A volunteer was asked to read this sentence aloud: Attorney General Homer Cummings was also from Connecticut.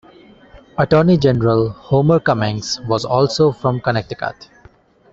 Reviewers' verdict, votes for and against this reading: accepted, 3, 0